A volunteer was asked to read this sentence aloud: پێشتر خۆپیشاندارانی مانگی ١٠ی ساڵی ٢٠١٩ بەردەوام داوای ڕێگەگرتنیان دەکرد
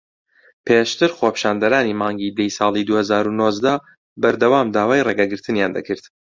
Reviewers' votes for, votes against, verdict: 0, 2, rejected